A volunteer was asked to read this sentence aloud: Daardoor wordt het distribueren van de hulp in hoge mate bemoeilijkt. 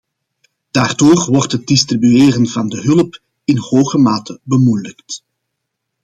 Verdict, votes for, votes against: accepted, 2, 0